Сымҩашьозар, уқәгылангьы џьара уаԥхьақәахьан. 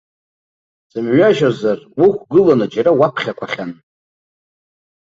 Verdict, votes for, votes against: rejected, 0, 2